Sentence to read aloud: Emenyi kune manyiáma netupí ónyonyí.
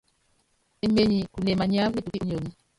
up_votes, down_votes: 0, 2